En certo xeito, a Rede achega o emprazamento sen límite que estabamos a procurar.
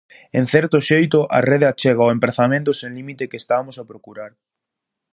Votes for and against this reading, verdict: 0, 4, rejected